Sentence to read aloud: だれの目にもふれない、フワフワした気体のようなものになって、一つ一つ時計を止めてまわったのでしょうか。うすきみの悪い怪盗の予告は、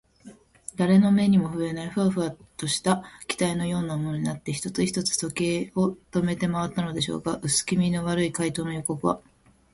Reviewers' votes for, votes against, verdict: 1, 3, rejected